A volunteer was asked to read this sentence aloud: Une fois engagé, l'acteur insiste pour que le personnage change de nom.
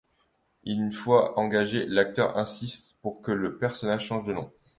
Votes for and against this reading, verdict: 2, 0, accepted